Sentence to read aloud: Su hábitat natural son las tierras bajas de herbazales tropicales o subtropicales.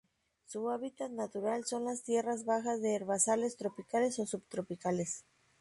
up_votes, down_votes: 2, 0